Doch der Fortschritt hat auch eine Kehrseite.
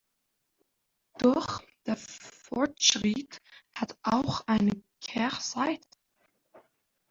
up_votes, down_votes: 0, 2